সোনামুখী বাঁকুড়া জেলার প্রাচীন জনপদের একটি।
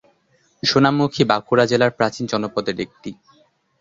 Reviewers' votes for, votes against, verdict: 6, 0, accepted